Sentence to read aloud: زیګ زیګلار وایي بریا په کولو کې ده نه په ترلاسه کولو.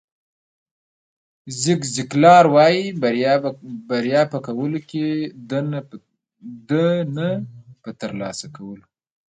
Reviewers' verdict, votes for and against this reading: accepted, 2, 1